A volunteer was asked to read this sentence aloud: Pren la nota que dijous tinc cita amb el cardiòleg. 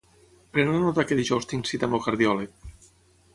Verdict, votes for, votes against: rejected, 3, 3